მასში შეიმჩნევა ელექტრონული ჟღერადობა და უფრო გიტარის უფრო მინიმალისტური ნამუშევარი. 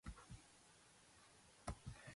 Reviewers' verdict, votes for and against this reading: rejected, 0, 2